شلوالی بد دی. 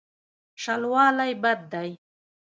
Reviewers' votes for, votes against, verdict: 2, 0, accepted